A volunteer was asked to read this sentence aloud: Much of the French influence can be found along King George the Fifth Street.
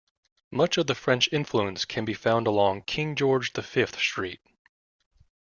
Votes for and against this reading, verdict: 2, 0, accepted